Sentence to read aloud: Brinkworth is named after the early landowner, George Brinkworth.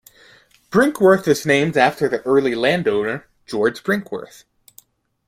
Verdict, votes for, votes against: accepted, 2, 0